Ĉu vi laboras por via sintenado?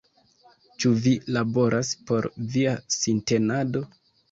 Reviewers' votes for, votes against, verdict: 2, 1, accepted